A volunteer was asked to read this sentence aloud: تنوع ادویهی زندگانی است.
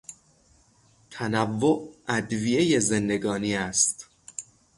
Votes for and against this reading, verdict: 6, 0, accepted